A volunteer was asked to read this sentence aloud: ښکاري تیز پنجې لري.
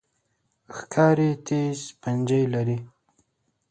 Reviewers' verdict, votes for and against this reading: rejected, 1, 2